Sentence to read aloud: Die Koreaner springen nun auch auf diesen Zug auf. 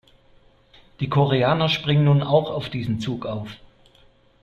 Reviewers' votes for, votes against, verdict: 2, 0, accepted